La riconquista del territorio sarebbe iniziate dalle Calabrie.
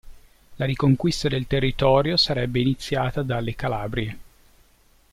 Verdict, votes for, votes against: rejected, 1, 2